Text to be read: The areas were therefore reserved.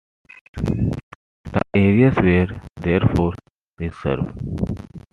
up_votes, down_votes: 2, 1